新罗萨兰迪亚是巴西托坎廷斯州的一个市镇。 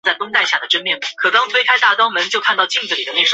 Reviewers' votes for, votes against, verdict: 0, 5, rejected